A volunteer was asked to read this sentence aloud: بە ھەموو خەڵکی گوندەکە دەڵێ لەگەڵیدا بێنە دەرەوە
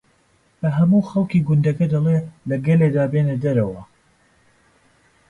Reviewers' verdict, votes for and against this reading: rejected, 0, 2